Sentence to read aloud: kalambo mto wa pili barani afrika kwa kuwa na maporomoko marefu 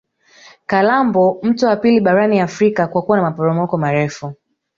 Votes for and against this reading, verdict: 2, 0, accepted